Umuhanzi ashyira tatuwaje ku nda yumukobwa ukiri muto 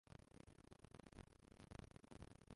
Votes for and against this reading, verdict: 0, 2, rejected